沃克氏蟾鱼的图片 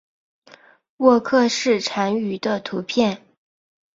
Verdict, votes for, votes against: accepted, 3, 0